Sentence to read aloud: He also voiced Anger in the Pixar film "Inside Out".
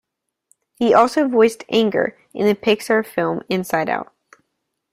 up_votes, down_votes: 2, 0